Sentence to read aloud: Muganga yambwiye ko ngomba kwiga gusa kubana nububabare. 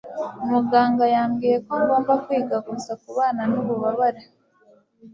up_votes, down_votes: 2, 1